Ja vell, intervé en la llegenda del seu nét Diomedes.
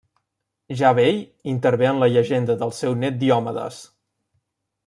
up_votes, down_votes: 2, 0